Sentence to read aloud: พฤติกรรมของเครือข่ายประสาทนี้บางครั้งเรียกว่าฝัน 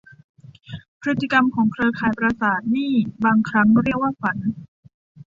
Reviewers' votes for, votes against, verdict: 1, 2, rejected